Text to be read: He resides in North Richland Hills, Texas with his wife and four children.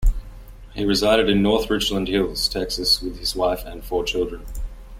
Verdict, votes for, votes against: rejected, 1, 2